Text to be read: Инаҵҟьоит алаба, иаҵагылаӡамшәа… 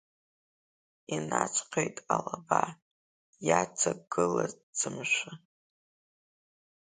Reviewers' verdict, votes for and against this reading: rejected, 0, 2